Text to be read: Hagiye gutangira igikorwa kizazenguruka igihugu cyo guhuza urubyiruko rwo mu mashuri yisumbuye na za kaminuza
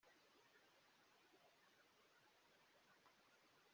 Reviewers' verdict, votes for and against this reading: rejected, 0, 3